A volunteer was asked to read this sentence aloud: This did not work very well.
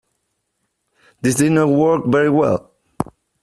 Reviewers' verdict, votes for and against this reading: accepted, 2, 1